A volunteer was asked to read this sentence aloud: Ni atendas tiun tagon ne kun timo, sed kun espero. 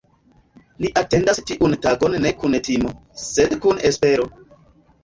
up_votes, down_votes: 0, 2